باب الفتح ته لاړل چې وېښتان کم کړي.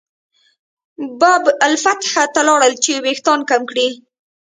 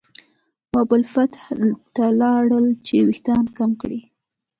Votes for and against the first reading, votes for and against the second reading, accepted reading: 2, 0, 0, 2, first